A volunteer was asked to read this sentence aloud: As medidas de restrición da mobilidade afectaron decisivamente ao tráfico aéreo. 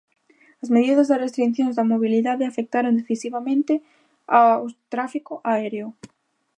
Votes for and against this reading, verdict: 0, 2, rejected